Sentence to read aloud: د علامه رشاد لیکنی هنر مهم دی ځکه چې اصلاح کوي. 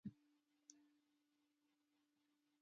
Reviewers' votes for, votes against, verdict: 0, 2, rejected